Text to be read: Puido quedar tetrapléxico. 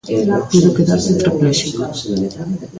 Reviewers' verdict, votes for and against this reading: rejected, 0, 2